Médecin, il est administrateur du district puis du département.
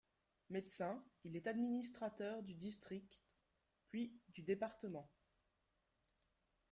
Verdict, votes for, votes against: rejected, 1, 2